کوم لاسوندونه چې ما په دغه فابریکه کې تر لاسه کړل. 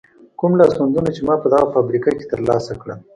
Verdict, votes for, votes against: accepted, 2, 0